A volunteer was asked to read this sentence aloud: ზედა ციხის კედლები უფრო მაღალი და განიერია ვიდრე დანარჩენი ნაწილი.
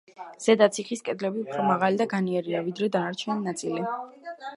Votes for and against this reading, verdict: 2, 0, accepted